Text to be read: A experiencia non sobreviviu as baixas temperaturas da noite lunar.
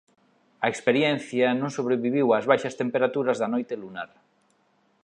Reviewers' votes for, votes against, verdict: 2, 0, accepted